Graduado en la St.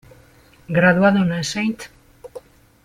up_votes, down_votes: 1, 2